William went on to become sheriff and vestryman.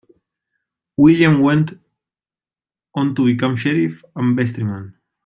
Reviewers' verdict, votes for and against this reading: rejected, 1, 2